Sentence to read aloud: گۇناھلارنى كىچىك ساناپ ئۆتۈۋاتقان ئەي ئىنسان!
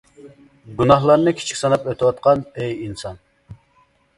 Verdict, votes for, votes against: accepted, 2, 0